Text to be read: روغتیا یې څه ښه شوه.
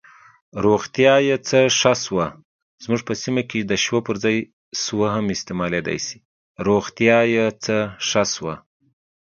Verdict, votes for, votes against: rejected, 0, 2